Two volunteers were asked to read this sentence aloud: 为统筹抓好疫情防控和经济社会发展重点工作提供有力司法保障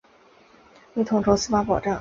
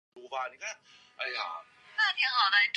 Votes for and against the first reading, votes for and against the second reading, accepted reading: 2, 1, 2, 5, first